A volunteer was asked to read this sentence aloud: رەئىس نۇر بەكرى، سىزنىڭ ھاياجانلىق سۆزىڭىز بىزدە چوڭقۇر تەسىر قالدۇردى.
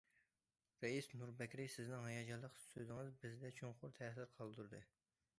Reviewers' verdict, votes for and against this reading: accepted, 2, 0